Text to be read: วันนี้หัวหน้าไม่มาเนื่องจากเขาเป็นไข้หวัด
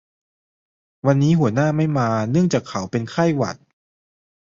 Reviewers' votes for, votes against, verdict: 2, 0, accepted